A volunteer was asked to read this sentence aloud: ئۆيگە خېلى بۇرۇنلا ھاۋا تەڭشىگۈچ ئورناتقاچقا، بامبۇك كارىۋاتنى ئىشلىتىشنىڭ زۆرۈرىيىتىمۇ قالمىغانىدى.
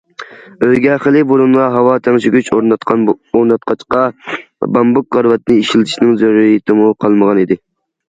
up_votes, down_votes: 0, 2